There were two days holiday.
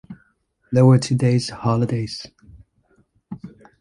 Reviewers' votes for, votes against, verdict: 0, 2, rejected